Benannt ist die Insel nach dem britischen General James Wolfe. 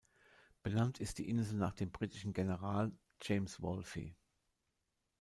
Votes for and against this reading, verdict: 2, 0, accepted